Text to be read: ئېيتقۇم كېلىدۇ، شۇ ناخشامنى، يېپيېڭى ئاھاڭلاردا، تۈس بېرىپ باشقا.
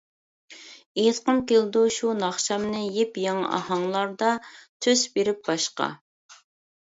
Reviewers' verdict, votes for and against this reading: accepted, 2, 1